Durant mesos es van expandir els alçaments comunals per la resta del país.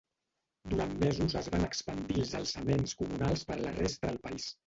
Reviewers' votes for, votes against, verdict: 0, 2, rejected